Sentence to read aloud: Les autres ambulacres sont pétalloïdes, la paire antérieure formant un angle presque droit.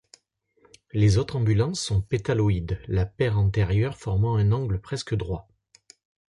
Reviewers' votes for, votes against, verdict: 0, 2, rejected